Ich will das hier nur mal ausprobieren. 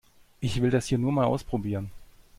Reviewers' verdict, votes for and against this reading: accepted, 2, 0